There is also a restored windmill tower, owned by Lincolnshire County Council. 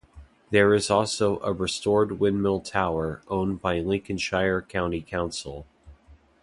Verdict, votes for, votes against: accepted, 2, 0